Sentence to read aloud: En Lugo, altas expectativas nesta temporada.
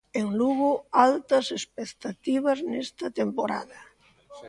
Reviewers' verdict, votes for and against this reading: rejected, 0, 2